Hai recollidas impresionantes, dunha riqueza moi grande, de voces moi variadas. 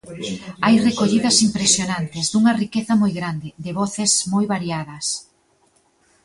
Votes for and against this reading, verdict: 1, 2, rejected